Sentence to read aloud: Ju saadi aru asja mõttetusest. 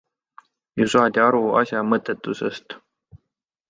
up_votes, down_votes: 2, 0